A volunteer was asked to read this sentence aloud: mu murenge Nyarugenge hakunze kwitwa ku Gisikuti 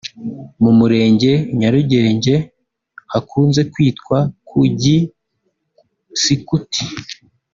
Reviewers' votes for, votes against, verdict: 2, 0, accepted